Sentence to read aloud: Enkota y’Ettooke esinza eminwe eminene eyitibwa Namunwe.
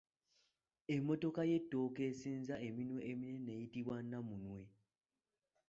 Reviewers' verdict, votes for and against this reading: rejected, 0, 2